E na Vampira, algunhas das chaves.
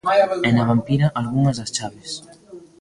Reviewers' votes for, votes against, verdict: 2, 1, accepted